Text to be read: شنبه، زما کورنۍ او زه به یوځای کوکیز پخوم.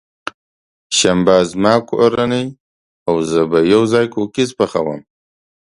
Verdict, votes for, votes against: accepted, 2, 0